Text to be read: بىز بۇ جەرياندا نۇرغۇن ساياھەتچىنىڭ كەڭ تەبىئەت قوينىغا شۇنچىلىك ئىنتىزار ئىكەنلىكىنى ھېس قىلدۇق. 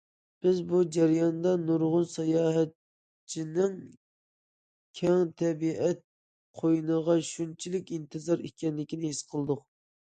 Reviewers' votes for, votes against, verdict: 2, 0, accepted